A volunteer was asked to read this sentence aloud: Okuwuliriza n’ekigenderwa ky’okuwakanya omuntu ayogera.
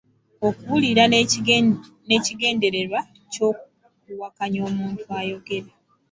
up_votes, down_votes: 0, 2